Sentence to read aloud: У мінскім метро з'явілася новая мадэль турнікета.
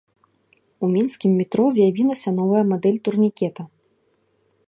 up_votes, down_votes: 2, 0